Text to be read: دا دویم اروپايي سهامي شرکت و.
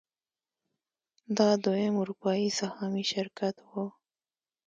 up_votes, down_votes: 2, 0